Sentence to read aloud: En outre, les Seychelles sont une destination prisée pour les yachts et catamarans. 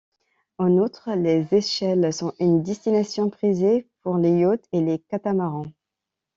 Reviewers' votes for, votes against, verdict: 1, 2, rejected